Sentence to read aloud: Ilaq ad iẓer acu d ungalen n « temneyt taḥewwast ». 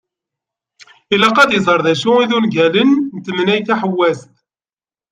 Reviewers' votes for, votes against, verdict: 2, 0, accepted